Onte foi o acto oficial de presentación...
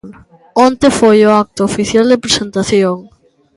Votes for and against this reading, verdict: 1, 2, rejected